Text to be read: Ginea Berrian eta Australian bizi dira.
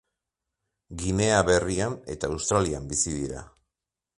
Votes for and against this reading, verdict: 2, 0, accepted